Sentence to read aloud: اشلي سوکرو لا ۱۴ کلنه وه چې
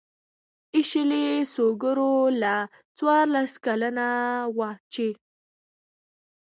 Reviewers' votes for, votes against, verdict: 0, 2, rejected